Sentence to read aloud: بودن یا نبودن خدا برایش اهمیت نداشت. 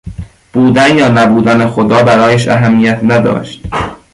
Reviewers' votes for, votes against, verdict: 2, 1, accepted